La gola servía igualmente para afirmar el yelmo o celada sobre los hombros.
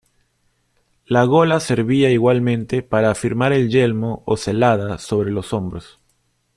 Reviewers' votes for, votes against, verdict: 2, 0, accepted